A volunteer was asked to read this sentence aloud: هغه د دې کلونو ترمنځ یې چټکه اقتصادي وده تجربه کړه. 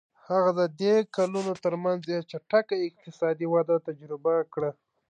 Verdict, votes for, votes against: accepted, 3, 0